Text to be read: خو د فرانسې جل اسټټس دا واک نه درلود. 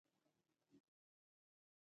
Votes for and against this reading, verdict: 1, 2, rejected